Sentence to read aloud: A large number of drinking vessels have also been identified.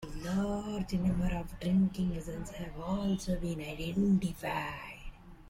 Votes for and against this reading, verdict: 1, 2, rejected